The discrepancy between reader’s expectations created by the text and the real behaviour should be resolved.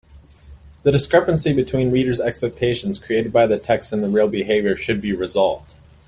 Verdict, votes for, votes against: accepted, 2, 0